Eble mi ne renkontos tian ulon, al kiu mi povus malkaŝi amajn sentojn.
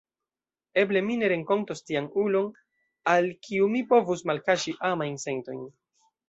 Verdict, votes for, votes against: rejected, 1, 2